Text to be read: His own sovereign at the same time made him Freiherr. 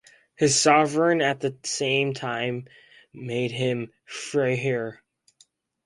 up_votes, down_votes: 0, 4